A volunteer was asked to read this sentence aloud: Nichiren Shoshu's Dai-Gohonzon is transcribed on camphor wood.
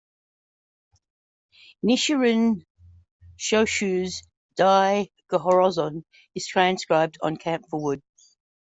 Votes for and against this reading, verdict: 1, 2, rejected